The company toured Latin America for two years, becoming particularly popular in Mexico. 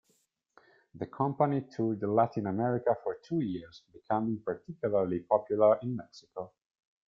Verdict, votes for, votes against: accepted, 2, 1